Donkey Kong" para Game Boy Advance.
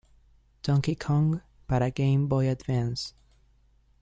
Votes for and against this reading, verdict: 2, 0, accepted